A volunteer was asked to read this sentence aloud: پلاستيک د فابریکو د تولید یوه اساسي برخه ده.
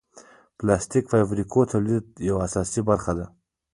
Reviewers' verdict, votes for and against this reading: rejected, 1, 2